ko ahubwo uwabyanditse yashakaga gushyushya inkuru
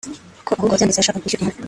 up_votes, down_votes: 0, 3